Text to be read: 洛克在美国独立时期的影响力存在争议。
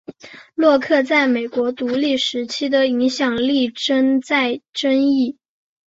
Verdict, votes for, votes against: accepted, 3, 0